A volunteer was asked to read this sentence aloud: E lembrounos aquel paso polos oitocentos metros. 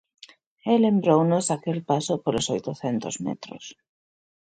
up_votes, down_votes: 2, 0